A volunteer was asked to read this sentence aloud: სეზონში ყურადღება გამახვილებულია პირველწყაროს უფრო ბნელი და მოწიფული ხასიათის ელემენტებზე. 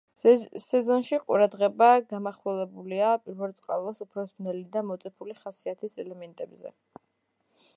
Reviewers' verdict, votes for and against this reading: accepted, 2, 1